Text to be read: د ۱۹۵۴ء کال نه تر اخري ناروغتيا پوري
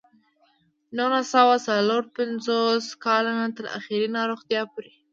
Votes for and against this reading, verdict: 0, 2, rejected